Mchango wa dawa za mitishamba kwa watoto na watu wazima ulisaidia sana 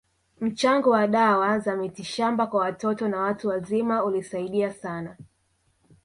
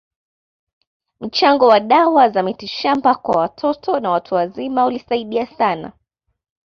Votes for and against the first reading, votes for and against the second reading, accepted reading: 1, 2, 2, 1, second